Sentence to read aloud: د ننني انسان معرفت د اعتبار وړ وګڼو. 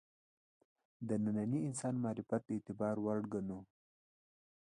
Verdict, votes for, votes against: accepted, 2, 1